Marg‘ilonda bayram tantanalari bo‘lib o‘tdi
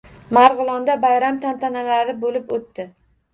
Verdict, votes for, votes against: rejected, 1, 2